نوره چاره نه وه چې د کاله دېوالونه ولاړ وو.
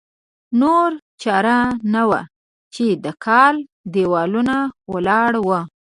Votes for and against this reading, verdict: 1, 2, rejected